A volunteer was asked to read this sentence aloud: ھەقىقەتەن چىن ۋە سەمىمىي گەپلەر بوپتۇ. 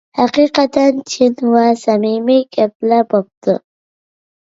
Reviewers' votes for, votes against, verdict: 2, 0, accepted